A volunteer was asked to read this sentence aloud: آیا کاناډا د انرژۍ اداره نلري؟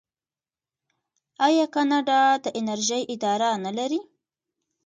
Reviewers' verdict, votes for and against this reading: rejected, 1, 2